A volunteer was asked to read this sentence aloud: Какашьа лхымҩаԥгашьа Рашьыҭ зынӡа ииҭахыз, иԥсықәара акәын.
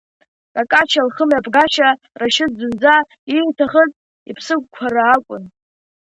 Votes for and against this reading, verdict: 3, 0, accepted